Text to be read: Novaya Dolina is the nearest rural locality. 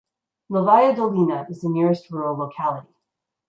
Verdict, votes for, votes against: rejected, 1, 2